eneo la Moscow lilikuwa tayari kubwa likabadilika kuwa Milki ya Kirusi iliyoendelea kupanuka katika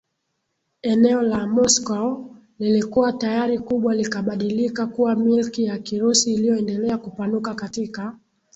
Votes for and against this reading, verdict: 4, 0, accepted